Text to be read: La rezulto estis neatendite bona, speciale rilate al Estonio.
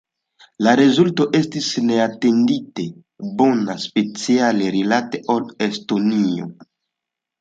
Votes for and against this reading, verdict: 2, 0, accepted